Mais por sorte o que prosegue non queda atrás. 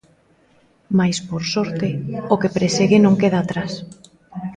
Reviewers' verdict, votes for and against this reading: rejected, 0, 2